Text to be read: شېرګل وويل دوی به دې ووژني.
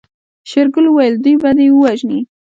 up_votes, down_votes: 2, 0